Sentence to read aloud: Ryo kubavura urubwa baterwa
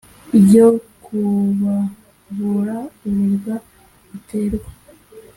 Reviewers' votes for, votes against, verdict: 2, 0, accepted